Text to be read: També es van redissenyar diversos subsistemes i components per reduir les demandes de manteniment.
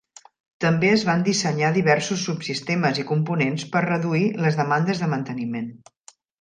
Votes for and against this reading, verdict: 0, 2, rejected